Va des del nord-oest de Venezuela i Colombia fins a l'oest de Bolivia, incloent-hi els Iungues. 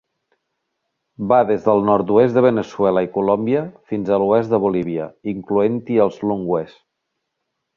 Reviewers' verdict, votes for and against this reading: rejected, 0, 3